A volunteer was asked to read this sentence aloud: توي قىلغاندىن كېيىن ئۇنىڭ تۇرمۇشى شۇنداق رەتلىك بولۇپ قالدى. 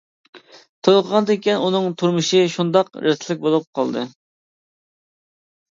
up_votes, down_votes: 1, 2